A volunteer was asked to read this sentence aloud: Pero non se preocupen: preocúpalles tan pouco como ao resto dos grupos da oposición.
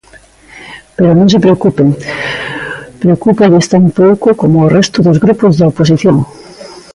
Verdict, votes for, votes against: accepted, 2, 0